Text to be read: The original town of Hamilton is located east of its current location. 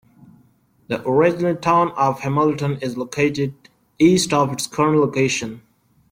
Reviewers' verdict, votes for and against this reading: accepted, 2, 1